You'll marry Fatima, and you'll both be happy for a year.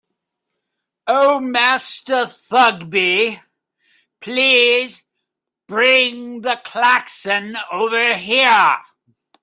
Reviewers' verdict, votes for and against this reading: rejected, 0, 3